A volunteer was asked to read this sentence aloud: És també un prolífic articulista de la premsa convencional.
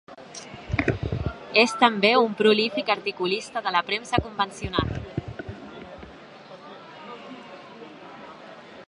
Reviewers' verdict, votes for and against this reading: accepted, 3, 1